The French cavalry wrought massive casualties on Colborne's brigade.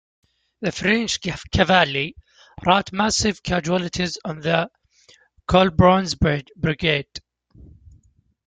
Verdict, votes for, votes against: rejected, 1, 2